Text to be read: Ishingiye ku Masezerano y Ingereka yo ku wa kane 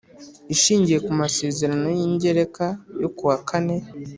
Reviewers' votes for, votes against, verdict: 4, 0, accepted